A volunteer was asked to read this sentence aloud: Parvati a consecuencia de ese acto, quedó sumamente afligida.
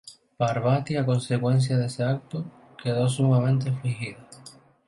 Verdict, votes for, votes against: accepted, 2, 0